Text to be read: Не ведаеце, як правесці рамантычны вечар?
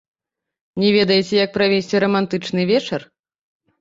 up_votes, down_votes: 0, 2